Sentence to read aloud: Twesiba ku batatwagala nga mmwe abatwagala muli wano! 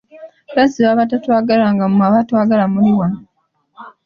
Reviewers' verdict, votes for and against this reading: rejected, 0, 2